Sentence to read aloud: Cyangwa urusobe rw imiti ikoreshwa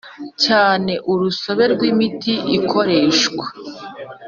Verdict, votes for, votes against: rejected, 1, 2